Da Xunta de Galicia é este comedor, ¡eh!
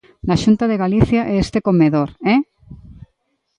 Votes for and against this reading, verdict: 1, 2, rejected